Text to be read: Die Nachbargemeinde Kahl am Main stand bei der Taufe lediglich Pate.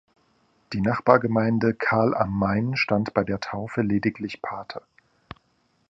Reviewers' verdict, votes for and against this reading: accepted, 2, 0